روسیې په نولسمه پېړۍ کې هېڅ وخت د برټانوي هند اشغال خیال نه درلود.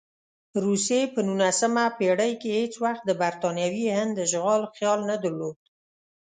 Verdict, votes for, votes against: accepted, 2, 0